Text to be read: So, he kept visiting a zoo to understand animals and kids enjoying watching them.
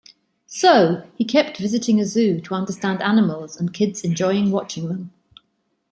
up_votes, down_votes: 2, 0